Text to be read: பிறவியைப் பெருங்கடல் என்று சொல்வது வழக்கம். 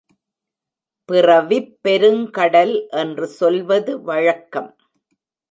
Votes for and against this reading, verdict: 1, 2, rejected